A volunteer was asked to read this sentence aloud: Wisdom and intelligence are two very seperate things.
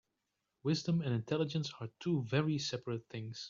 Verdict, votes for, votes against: accepted, 2, 0